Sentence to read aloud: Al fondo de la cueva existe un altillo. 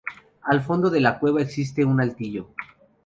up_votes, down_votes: 4, 0